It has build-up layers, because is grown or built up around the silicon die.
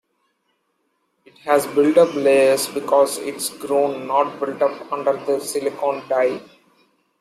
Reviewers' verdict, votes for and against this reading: rejected, 1, 2